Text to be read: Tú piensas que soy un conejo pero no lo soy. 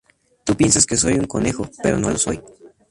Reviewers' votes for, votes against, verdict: 2, 0, accepted